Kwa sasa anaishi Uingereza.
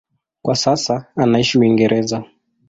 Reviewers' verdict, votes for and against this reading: accepted, 2, 0